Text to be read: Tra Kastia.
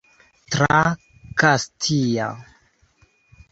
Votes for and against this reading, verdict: 3, 2, accepted